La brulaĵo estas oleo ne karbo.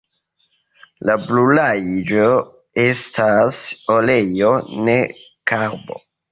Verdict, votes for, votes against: accepted, 2, 0